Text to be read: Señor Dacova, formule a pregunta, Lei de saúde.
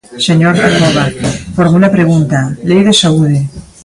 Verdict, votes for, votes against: rejected, 0, 2